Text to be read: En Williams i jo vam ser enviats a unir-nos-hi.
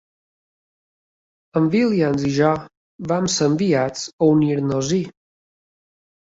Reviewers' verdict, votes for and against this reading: accepted, 2, 0